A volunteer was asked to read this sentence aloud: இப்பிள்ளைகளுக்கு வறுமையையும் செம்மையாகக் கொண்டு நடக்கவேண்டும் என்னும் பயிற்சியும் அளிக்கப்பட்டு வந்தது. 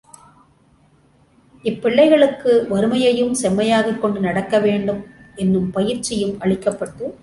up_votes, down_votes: 0, 2